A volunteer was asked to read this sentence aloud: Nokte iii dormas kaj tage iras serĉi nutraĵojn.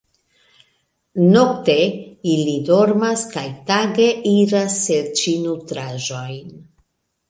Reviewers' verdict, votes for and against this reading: rejected, 0, 2